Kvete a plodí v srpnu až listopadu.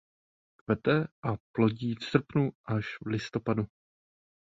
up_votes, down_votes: 0, 2